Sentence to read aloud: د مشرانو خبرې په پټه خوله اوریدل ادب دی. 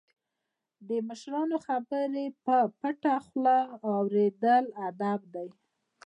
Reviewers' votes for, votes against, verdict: 1, 2, rejected